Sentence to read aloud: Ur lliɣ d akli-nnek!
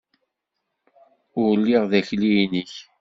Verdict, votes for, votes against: accepted, 2, 0